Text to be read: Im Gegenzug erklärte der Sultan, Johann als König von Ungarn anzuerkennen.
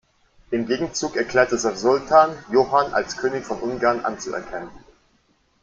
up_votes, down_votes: 0, 2